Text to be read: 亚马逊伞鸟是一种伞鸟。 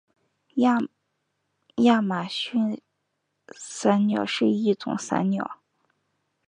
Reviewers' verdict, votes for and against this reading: rejected, 0, 2